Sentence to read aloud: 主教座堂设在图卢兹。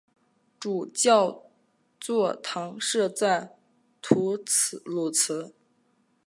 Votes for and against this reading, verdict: 0, 4, rejected